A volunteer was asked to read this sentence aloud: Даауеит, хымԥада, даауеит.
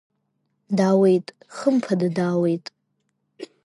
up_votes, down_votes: 2, 1